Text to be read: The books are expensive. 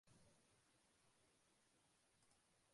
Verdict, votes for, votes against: rejected, 0, 2